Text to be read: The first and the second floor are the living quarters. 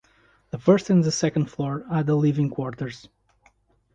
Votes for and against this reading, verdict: 2, 0, accepted